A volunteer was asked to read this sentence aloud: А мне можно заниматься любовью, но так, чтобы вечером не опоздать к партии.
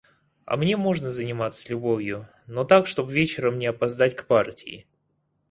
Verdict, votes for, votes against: rejected, 0, 4